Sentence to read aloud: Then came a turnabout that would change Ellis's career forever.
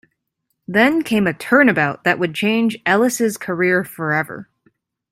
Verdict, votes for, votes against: accepted, 2, 0